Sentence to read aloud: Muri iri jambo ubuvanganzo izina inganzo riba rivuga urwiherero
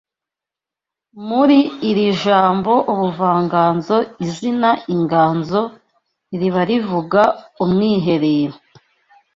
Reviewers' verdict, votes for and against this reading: rejected, 0, 2